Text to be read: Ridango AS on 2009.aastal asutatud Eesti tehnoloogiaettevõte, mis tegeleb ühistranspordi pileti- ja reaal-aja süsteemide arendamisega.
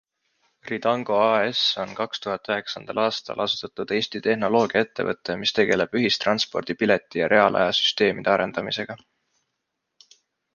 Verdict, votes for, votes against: rejected, 0, 2